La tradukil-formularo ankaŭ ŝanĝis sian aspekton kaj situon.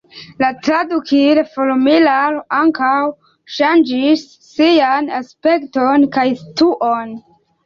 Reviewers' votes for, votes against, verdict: 1, 2, rejected